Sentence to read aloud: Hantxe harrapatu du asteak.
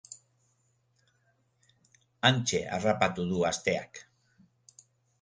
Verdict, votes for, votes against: accepted, 2, 0